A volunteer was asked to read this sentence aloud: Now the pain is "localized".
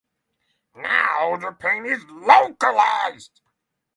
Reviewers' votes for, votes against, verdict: 0, 3, rejected